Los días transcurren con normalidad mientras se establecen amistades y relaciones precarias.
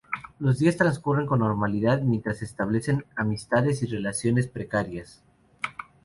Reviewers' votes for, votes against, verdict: 2, 0, accepted